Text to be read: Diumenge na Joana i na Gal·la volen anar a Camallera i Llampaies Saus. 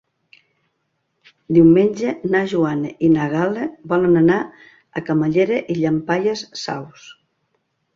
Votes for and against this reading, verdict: 2, 0, accepted